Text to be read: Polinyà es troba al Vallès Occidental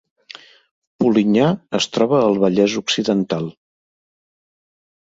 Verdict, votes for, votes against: accepted, 3, 0